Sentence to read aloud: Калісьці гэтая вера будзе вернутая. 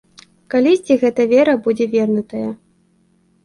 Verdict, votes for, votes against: rejected, 1, 2